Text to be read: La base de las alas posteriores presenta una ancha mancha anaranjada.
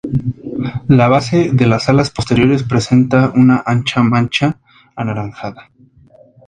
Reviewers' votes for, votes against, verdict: 2, 0, accepted